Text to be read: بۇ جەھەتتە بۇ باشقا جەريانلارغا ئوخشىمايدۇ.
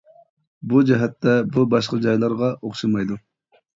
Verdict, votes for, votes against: rejected, 1, 2